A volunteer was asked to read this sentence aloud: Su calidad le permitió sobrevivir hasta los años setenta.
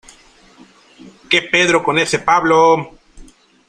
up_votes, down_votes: 0, 2